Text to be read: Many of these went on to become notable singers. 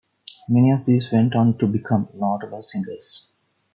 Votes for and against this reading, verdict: 1, 2, rejected